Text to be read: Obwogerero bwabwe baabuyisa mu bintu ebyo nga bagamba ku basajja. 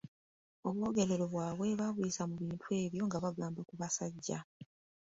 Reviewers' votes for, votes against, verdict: 2, 0, accepted